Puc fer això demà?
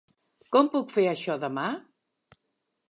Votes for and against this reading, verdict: 2, 3, rejected